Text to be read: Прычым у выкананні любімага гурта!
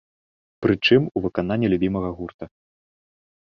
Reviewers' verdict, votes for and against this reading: rejected, 1, 2